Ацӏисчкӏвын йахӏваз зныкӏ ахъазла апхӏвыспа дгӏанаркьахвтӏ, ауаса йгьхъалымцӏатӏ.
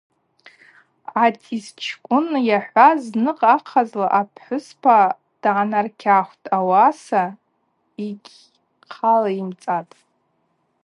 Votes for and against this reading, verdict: 0, 2, rejected